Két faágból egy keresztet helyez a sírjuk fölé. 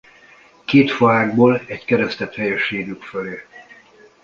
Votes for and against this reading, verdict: 0, 2, rejected